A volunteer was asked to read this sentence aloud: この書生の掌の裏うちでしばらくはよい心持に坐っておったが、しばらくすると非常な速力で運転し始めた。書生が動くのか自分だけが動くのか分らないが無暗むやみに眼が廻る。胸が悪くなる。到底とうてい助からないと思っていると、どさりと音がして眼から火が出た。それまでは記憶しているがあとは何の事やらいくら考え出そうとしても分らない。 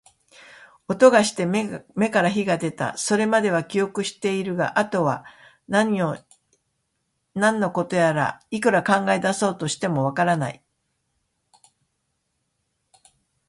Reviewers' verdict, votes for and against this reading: rejected, 0, 2